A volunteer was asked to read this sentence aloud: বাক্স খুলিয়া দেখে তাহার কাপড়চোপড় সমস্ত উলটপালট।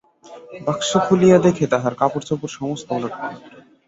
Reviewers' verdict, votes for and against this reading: rejected, 0, 5